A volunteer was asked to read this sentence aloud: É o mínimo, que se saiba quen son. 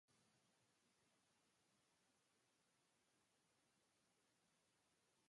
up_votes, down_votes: 0, 2